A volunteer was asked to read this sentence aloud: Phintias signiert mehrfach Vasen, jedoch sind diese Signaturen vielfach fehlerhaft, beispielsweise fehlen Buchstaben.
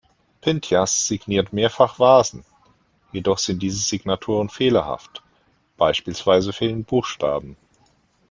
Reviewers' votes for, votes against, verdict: 0, 2, rejected